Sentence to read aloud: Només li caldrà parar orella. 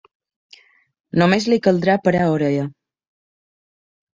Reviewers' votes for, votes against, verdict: 2, 0, accepted